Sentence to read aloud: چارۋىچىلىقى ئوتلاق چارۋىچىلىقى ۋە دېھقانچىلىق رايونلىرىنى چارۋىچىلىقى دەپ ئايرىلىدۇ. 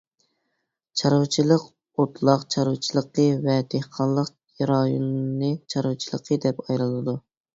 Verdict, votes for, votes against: rejected, 0, 2